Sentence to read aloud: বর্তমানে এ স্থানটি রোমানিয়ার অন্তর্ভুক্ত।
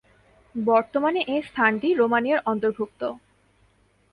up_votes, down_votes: 5, 0